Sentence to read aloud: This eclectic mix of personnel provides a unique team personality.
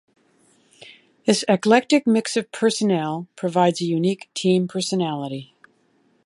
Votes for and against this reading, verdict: 2, 0, accepted